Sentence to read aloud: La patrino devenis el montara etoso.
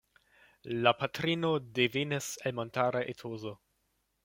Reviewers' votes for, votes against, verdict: 1, 2, rejected